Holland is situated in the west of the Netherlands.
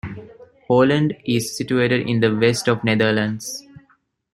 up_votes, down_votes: 1, 2